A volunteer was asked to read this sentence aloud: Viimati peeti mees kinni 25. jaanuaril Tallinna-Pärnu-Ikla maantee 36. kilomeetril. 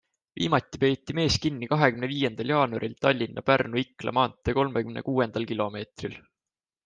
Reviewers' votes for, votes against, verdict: 0, 2, rejected